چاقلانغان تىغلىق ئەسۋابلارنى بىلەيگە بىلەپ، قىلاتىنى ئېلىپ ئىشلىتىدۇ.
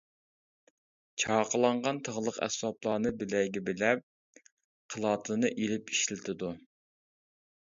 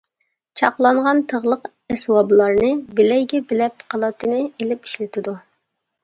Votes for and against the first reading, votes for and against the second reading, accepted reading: 2, 0, 0, 2, first